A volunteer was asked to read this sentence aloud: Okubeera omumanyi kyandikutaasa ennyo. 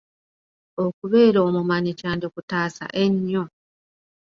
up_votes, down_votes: 2, 0